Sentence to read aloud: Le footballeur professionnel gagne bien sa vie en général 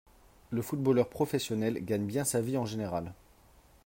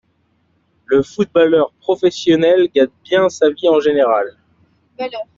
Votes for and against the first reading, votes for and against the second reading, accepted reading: 3, 0, 0, 2, first